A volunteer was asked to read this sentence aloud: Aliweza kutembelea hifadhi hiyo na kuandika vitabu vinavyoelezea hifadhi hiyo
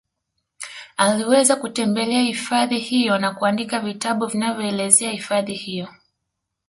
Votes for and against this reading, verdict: 1, 2, rejected